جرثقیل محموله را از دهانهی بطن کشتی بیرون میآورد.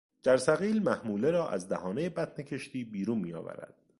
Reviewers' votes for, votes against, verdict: 2, 0, accepted